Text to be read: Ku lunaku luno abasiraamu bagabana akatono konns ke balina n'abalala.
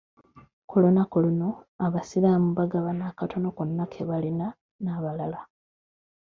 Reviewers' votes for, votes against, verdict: 2, 0, accepted